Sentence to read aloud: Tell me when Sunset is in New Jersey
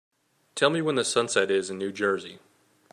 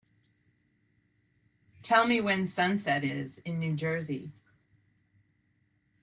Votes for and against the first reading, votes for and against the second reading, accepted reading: 0, 2, 3, 0, second